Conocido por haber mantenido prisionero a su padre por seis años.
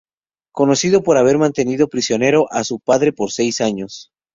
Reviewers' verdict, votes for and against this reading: accepted, 4, 0